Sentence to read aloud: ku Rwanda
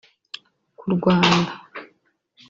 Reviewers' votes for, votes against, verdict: 1, 2, rejected